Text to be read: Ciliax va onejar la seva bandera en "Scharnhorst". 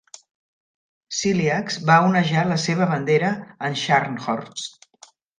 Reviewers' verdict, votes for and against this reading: rejected, 1, 2